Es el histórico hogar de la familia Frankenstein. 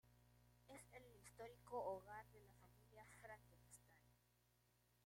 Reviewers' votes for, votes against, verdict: 0, 2, rejected